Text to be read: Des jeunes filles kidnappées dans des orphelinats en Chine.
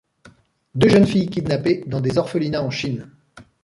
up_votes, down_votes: 0, 2